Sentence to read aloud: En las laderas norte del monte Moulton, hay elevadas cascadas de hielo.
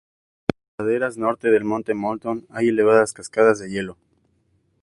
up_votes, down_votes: 0, 2